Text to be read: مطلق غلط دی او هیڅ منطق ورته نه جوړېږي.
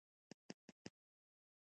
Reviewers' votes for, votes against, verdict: 0, 2, rejected